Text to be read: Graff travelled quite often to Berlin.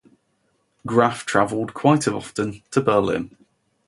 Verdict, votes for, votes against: accepted, 2, 0